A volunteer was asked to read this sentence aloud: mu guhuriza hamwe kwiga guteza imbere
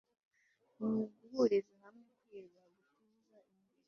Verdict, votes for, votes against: rejected, 1, 2